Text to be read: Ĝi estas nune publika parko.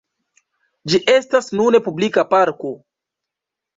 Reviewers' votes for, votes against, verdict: 2, 0, accepted